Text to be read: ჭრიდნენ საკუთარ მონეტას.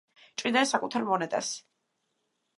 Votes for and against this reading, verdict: 1, 2, rejected